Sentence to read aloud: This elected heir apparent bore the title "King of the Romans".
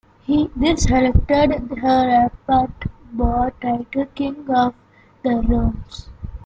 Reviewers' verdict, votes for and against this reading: rejected, 0, 2